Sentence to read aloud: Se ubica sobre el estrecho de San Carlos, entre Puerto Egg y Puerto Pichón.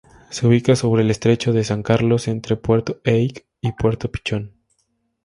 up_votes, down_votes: 2, 0